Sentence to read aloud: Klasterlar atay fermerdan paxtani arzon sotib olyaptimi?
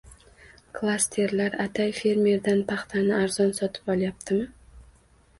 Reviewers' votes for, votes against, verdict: 1, 2, rejected